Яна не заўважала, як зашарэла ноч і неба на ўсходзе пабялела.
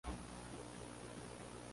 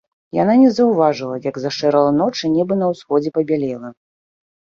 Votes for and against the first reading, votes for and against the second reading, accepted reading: 0, 3, 2, 1, second